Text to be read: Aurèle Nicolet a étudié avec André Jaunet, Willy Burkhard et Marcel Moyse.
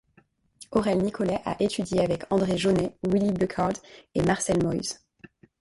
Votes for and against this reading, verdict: 1, 2, rejected